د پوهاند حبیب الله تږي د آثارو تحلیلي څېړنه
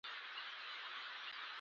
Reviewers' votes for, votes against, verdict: 1, 4, rejected